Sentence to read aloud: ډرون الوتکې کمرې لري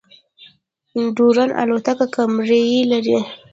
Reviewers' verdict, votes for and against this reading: rejected, 1, 2